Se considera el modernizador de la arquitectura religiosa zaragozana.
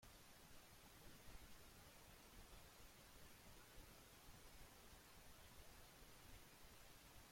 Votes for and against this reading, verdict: 0, 2, rejected